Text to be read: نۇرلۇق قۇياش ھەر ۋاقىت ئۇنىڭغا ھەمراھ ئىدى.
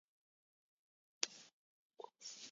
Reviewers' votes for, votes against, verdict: 0, 2, rejected